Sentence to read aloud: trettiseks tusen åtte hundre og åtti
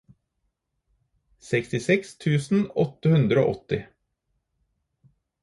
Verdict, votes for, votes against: rejected, 0, 4